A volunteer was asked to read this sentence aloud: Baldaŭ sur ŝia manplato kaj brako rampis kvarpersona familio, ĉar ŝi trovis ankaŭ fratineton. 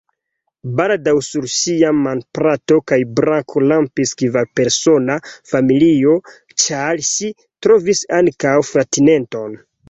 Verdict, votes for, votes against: accepted, 2, 0